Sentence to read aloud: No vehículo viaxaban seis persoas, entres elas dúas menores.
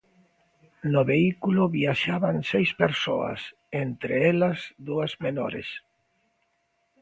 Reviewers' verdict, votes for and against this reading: accepted, 2, 0